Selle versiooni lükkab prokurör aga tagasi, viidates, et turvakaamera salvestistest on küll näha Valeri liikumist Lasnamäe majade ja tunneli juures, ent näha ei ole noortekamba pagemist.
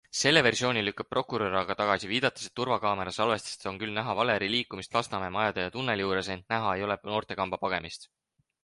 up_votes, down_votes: 4, 0